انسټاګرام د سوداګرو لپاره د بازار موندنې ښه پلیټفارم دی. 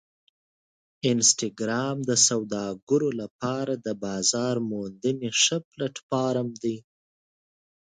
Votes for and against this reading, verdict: 2, 0, accepted